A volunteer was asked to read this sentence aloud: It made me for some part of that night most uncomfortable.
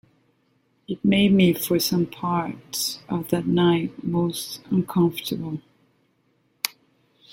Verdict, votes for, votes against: rejected, 1, 2